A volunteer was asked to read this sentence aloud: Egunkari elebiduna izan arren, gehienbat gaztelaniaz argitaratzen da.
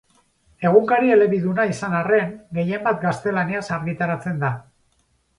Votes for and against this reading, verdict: 4, 0, accepted